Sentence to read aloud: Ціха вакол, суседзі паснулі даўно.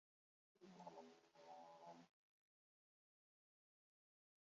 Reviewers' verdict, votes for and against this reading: rejected, 0, 2